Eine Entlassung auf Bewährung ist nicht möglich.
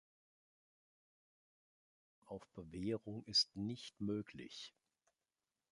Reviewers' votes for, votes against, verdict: 0, 2, rejected